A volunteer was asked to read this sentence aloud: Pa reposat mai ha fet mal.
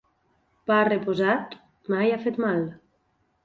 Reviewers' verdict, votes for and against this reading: accepted, 4, 0